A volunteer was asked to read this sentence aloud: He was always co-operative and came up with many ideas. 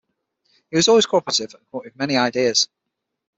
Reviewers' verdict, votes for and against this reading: rejected, 0, 6